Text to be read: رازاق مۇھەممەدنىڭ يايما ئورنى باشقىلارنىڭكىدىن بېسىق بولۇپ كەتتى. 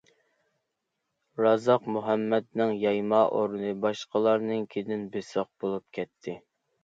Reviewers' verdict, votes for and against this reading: accepted, 2, 0